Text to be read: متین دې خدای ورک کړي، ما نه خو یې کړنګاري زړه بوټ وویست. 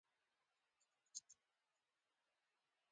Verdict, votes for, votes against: rejected, 0, 2